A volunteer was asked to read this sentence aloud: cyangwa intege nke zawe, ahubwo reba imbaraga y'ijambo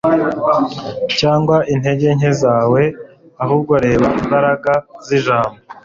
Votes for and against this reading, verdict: 0, 2, rejected